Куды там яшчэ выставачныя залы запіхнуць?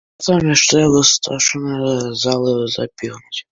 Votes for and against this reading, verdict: 1, 2, rejected